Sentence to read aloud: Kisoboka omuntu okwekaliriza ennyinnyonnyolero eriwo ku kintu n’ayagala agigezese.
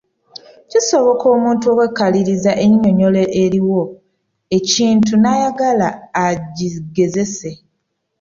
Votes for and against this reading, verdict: 1, 2, rejected